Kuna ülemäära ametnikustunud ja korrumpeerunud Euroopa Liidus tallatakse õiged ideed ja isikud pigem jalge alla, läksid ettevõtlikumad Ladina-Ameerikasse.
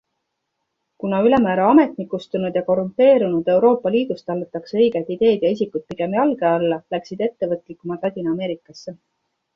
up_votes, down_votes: 2, 1